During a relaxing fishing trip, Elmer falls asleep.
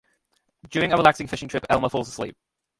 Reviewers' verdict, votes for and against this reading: rejected, 1, 2